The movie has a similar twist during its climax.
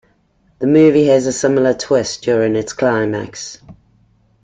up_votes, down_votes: 2, 0